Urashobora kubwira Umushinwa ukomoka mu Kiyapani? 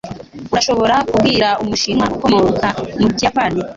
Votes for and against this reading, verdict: 2, 0, accepted